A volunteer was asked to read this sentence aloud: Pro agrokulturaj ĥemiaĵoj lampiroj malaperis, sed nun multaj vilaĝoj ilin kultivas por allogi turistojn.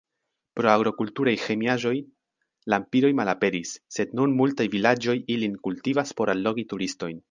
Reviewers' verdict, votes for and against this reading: accepted, 3, 0